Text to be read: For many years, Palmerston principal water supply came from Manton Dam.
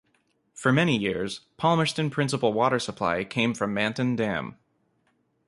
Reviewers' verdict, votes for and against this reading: accepted, 2, 0